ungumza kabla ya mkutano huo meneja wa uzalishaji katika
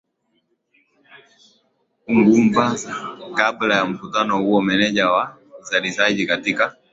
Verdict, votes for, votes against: accepted, 2, 1